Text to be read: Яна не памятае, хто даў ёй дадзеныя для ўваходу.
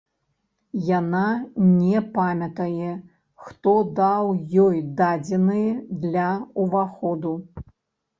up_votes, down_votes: 1, 2